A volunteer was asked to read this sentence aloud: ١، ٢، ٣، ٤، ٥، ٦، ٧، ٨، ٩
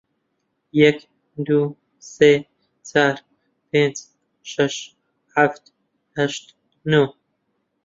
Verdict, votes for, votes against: rejected, 0, 2